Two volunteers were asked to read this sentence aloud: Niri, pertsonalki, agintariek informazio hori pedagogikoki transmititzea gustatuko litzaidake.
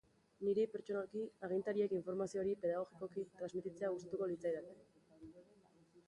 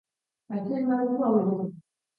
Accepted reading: first